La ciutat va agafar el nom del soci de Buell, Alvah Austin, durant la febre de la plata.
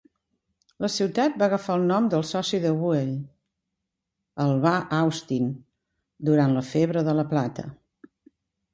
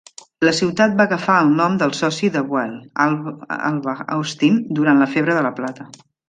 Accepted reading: first